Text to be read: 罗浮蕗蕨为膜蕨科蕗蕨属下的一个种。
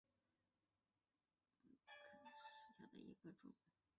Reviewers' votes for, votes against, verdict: 0, 3, rejected